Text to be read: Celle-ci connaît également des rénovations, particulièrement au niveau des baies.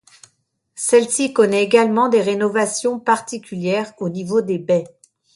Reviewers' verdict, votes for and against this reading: rejected, 0, 2